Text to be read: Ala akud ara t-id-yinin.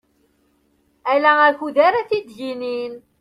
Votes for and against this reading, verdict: 2, 0, accepted